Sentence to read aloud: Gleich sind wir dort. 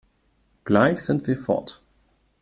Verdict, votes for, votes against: rejected, 0, 2